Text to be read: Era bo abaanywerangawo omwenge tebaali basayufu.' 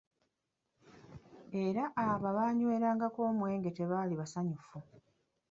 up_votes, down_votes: 1, 2